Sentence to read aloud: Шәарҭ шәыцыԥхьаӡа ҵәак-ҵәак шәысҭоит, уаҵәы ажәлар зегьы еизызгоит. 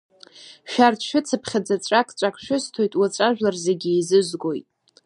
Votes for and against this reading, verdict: 2, 0, accepted